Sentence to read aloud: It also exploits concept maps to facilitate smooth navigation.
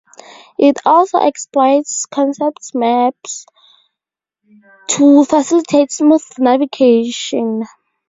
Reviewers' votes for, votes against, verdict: 0, 2, rejected